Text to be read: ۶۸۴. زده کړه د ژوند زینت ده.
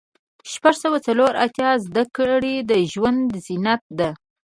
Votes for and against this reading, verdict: 0, 2, rejected